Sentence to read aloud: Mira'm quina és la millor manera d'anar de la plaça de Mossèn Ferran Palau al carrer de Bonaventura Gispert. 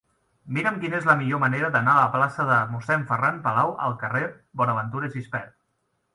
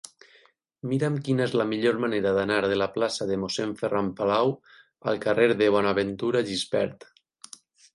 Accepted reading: second